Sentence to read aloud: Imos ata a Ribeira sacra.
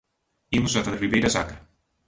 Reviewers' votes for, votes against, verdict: 2, 0, accepted